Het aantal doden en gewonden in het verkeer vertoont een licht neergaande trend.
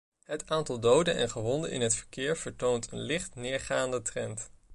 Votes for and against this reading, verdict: 2, 0, accepted